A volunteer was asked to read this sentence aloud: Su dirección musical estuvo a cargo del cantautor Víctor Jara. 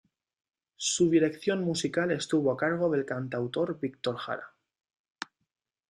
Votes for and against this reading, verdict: 2, 0, accepted